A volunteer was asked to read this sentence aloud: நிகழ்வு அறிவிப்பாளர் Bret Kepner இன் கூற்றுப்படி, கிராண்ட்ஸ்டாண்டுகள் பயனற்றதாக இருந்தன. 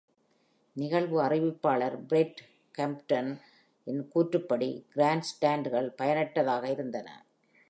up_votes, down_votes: 1, 2